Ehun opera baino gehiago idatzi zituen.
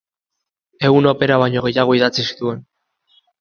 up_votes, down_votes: 2, 0